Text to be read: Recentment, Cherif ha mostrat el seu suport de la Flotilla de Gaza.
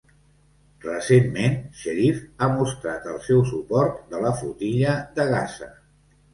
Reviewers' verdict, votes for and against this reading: accepted, 2, 0